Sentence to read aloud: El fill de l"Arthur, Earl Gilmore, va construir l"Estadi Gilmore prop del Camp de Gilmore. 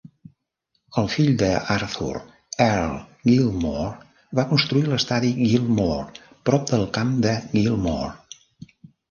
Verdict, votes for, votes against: rejected, 0, 2